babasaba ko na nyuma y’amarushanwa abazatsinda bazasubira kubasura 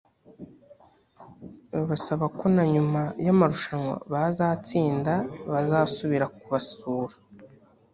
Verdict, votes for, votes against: rejected, 0, 2